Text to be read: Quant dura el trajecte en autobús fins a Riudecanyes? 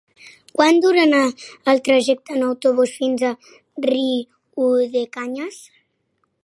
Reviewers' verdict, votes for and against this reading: rejected, 1, 2